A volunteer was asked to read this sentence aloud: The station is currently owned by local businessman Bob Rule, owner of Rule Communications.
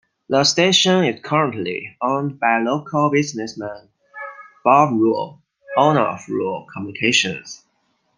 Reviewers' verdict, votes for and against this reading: accepted, 2, 0